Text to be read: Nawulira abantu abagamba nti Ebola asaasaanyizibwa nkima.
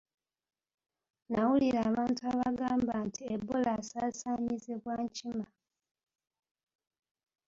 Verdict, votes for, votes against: accepted, 2, 0